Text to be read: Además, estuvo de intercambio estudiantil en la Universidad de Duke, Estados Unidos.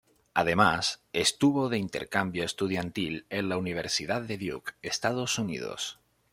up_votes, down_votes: 2, 0